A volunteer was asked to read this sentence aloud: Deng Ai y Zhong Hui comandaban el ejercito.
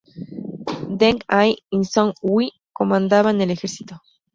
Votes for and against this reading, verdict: 0, 2, rejected